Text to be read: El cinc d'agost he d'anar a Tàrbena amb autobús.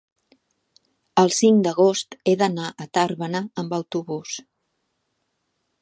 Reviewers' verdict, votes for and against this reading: accepted, 2, 0